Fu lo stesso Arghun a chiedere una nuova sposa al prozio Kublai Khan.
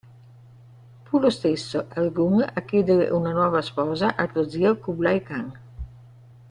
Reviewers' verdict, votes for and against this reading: rejected, 1, 2